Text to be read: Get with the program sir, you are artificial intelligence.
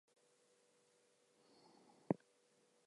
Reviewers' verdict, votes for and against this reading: rejected, 0, 2